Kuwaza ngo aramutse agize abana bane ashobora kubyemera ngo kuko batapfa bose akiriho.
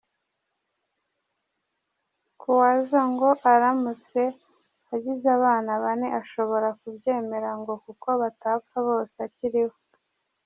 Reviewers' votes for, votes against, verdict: 0, 2, rejected